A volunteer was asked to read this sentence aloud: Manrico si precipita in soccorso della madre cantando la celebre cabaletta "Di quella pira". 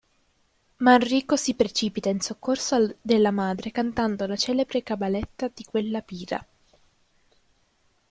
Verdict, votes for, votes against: rejected, 1, 2